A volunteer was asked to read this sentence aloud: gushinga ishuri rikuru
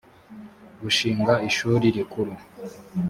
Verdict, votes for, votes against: accepted, 3, 0